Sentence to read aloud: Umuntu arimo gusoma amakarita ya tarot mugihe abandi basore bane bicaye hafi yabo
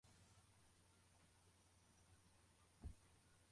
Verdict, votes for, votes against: rejected, 0, 2